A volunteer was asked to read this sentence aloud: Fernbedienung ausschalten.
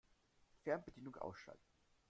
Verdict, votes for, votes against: accepted, 2, 0